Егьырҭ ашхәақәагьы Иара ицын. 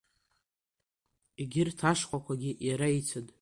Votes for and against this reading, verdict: 2, 0, accepted